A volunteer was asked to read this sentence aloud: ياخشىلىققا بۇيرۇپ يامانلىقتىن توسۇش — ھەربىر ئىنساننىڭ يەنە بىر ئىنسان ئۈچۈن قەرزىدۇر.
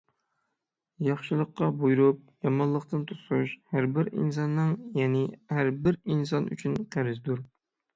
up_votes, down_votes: 3, 6